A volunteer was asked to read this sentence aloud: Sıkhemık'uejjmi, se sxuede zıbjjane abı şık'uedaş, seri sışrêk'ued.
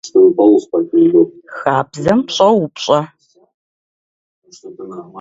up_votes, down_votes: 0, 2